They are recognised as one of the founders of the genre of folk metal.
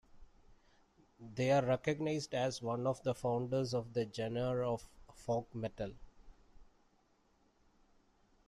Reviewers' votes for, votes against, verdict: 2, 1, accepted